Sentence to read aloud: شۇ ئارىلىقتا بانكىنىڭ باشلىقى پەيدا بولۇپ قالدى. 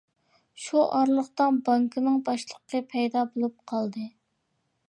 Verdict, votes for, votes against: accepted, 3, 0